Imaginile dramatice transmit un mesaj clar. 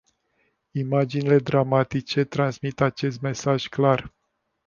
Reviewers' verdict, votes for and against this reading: rejected, 0, 2